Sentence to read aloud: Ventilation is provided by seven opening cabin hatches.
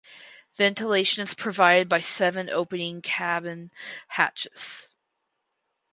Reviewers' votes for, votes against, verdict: 2, 2, rejected